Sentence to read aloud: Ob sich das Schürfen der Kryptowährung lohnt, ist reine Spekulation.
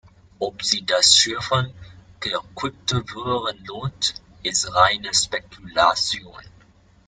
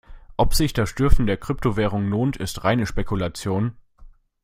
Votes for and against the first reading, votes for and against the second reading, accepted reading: 1, 2, 2, 1, second